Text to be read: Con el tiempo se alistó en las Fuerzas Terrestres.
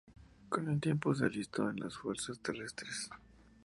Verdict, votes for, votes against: accepted, 2, 0